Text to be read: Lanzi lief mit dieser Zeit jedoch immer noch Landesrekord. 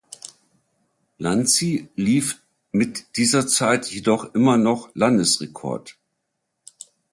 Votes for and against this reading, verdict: 2, 0, accepted